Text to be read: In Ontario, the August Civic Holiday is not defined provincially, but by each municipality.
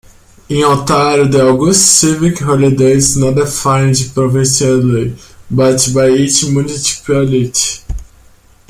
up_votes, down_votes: 1, 2